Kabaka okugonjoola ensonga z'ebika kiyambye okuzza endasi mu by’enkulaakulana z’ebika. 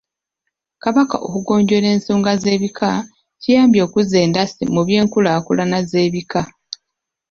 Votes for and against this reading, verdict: 3, 0, accepted